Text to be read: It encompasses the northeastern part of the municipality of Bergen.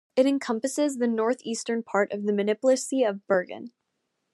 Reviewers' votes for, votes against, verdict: 1, 2, rejected